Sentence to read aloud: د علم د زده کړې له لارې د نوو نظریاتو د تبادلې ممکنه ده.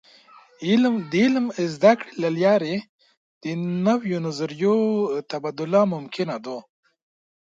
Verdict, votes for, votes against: rejected, 0, 2